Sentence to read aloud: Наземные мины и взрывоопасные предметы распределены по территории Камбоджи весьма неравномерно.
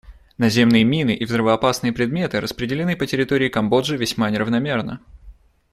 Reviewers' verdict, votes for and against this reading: accepted, 2, 0